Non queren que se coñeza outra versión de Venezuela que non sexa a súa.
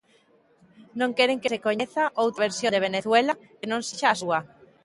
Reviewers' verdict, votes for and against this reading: rejected, 0, 4